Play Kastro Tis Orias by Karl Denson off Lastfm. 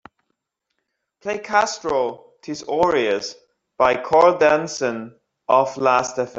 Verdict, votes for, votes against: accepted, 2, 1